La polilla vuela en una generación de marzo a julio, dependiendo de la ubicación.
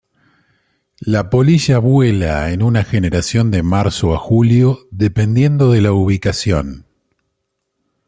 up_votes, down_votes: 2, 0